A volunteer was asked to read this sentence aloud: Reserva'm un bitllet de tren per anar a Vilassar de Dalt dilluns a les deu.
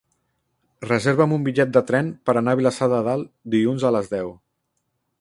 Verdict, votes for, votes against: rejected, 0, 2